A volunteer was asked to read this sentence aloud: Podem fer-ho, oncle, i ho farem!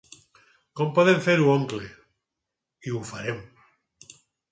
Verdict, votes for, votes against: rejected, 2, 4